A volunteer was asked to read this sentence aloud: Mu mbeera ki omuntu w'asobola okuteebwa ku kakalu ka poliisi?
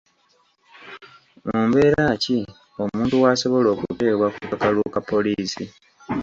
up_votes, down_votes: 2, 0